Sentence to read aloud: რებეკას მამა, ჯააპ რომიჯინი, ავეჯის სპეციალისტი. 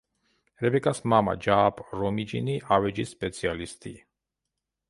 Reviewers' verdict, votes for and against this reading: accepted, 2, 0